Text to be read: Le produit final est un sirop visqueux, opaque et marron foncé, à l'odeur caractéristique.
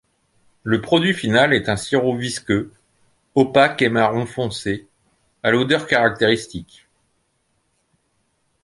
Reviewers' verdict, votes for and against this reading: accepted, 2, 0